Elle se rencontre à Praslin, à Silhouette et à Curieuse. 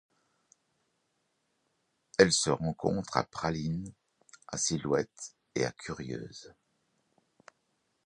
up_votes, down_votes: 0, 2